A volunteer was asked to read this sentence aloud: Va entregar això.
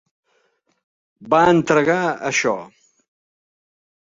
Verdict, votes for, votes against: accepted, 3, 0